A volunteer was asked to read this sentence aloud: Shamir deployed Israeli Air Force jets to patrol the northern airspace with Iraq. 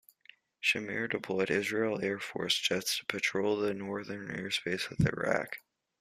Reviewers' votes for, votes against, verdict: 2, 1, accepted